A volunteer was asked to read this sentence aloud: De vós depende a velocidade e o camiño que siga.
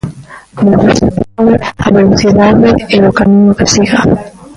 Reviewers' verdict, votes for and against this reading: rejected, 1, 2